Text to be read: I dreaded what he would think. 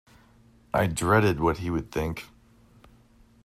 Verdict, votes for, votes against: accepted, 2, 0